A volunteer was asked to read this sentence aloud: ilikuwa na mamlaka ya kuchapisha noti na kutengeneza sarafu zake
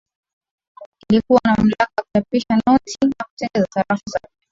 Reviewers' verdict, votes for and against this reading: rejected, 0, 2